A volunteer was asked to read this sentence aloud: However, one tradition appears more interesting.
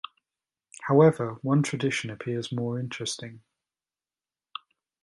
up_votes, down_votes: 2, 0